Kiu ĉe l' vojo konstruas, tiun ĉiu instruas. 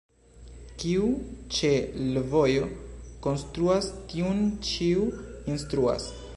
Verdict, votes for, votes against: rejected, 1, 2